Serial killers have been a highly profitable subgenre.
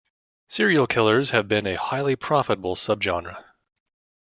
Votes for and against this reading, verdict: 2, 0, accepted